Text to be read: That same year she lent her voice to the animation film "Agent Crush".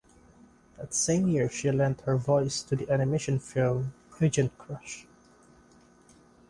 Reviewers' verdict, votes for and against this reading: accepted, 2, 0